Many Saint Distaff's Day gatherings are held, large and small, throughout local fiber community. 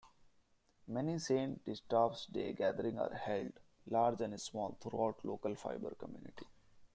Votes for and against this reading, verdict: 0, 2, rejected